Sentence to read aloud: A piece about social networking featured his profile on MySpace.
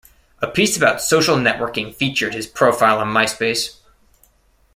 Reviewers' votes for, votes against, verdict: 2, 0, accepted